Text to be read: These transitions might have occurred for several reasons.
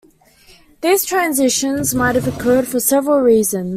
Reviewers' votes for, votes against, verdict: 0, 2, rejected